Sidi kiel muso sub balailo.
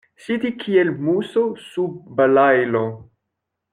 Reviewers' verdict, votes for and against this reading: rejected, 1, 2